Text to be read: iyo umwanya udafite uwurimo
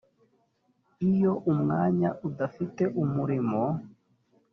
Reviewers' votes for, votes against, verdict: 1, 3, rejected